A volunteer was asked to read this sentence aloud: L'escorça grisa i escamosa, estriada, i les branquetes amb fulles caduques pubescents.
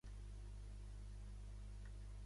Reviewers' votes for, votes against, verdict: 0, 2, rejected